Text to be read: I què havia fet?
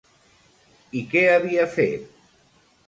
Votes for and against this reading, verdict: 2, 0, accepted